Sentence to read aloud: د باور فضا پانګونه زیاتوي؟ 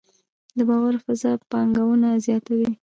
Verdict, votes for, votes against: rejected, 0, 2